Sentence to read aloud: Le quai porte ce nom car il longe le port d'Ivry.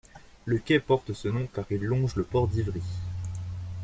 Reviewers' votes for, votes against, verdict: 2, 0, accepted